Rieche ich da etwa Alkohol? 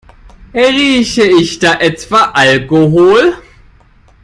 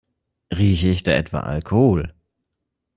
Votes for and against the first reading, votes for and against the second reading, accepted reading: 0, 2, 2, 0, second